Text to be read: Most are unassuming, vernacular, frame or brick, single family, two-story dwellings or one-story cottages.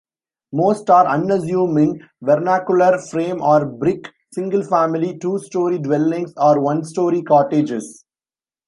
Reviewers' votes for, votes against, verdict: 2, 0, accepted